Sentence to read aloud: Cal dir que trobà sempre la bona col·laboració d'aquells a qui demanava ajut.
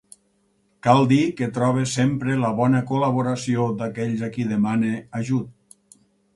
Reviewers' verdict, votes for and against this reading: rejected, 0, 2